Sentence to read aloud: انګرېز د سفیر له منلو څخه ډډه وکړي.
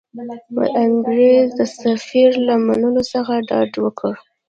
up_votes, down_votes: 1, 2